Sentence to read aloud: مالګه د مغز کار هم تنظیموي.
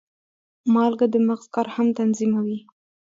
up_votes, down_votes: 2, 1